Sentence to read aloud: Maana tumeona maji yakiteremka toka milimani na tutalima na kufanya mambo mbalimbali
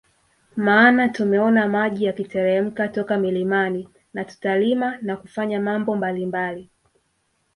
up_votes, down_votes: 2, 0